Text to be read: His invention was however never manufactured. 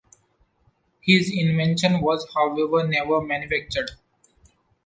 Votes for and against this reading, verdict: 0, 2, rejected